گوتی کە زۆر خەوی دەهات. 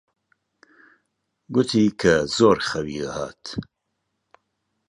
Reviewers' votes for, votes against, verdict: 1, 2, rejected